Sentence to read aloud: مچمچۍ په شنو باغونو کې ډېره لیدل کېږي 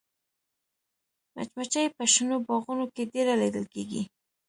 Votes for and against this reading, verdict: 1, 2, rejected